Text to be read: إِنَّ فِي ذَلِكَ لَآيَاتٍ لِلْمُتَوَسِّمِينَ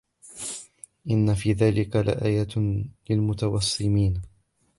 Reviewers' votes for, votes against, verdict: 1, 2, rejected